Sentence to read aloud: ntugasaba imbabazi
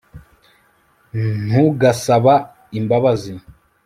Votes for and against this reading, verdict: 2, 0, accepted